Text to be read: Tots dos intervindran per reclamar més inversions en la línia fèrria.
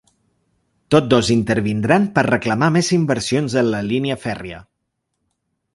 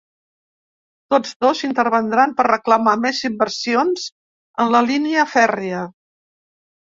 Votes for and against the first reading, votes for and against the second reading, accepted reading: 2, 0, 0, 2, first